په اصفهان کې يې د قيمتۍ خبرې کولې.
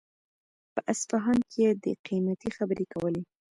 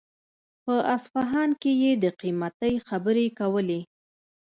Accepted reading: first